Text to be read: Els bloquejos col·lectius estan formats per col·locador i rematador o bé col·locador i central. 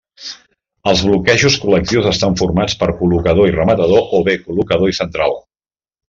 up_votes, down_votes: 3, 0